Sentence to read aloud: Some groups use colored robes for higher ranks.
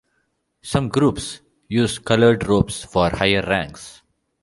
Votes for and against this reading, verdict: 2, 0, accepted